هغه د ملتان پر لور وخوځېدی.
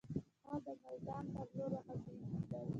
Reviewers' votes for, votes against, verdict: 2, 0, accepted